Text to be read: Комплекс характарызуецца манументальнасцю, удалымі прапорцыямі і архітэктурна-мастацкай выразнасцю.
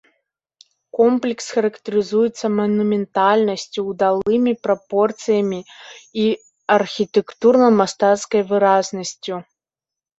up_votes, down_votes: 0, 2